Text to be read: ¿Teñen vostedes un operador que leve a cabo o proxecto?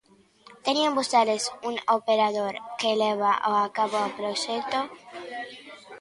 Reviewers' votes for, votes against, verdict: 0, 2, rejected